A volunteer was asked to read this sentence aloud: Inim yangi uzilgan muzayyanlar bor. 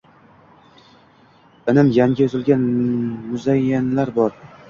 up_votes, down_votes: 0, 2